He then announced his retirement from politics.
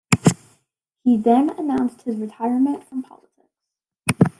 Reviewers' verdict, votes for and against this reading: rejected, 0, 2